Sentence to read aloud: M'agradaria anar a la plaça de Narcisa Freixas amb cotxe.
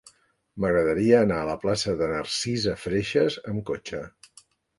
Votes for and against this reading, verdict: 3, 0, accepted